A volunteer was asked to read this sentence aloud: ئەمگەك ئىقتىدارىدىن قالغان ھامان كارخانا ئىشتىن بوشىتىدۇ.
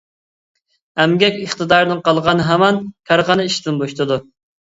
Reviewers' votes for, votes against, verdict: 2, 1, accepted